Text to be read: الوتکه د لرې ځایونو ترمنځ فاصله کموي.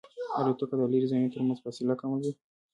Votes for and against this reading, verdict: 0, 2, rejected